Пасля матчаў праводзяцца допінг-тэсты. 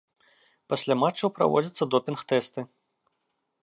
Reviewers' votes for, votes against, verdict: 2, 0, accepted